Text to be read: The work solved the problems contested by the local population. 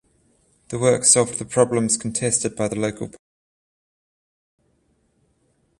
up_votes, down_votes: 0, 14